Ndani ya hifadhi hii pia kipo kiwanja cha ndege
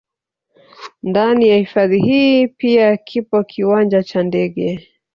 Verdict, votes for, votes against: rejected, 1, 2